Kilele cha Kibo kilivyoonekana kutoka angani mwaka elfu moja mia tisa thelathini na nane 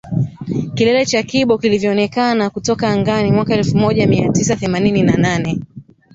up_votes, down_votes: 0, 2